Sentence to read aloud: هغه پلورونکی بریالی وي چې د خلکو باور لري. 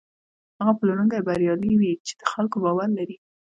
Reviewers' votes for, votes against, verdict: 2, 0, accepted